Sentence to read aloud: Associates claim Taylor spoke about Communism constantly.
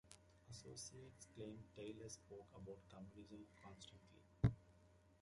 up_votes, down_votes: 0, 2